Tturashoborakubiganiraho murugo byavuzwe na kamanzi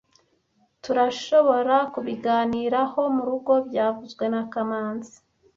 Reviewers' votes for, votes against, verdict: 0, 2, rejected